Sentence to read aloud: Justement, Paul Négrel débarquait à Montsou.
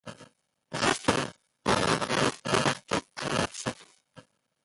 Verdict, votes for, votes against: rejected, 0, 2